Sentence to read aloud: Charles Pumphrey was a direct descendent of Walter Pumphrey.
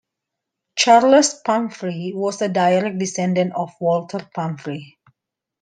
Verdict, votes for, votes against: rejected, 0, 2